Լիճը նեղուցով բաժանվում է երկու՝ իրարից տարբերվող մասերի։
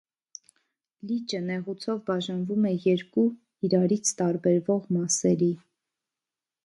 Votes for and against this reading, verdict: 1, 2, rejected